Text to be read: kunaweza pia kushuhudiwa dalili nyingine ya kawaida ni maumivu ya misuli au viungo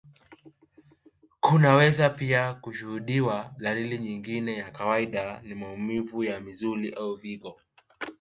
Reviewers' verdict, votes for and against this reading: accepted, 2, 0